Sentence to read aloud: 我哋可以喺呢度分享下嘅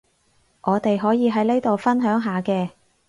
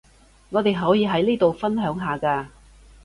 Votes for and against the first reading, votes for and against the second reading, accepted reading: 4, 0, 1, 2, first